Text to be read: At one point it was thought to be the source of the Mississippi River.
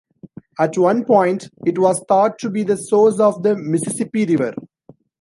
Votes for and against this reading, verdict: 2, 0, accepted